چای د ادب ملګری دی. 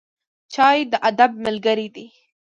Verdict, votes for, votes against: accepted, 2, 0